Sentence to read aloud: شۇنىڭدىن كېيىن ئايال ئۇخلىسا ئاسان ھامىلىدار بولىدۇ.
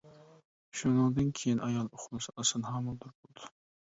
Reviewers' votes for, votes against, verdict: 1, 2, rejected